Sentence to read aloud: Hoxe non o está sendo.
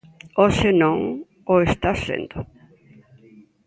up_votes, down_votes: 2, 0